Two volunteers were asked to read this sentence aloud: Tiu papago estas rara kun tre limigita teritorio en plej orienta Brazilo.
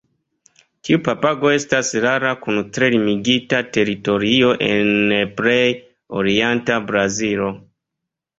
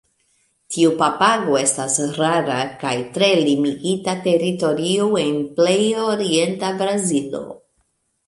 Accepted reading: first